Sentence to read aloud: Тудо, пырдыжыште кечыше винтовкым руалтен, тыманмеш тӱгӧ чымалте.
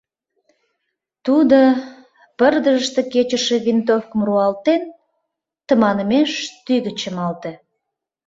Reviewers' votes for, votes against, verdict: 2, 0, accepted